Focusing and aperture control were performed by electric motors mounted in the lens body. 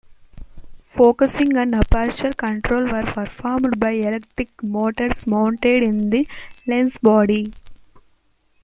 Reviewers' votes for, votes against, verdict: 0, 2, rejected